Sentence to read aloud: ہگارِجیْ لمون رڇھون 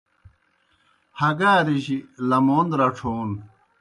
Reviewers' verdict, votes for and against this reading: accepted, 2, 0